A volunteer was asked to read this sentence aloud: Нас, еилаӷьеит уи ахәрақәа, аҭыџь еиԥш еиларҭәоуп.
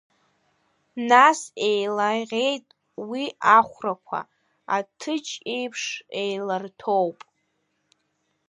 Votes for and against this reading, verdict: 0, 2, rejected